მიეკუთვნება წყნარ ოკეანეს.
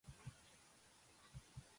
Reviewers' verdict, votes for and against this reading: rejected, 0, 2